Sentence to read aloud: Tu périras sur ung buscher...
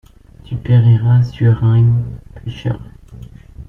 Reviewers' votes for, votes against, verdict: 2, 1, accepted